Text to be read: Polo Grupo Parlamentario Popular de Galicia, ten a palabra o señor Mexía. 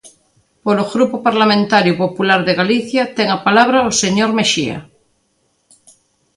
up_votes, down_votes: 2, 0